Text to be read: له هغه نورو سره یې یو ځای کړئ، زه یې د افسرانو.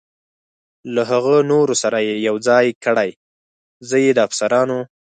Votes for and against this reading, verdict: 4, 0, accepted